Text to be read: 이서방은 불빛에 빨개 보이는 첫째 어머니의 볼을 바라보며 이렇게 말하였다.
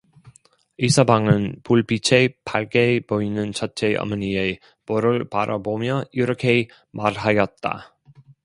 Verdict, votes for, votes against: rejected, 0, 2